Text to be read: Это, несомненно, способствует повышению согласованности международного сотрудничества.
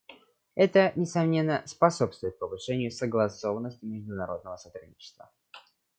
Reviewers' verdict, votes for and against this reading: accepted, 2, 0